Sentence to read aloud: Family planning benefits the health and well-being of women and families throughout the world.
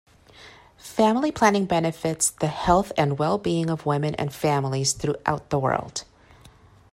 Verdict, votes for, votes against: accepted, 2, 0